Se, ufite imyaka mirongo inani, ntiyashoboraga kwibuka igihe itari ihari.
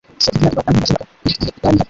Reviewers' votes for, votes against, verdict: 0, 2, rejected